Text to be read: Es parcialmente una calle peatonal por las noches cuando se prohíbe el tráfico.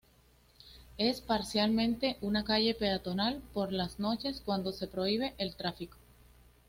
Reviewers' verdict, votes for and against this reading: accepted, 2, 0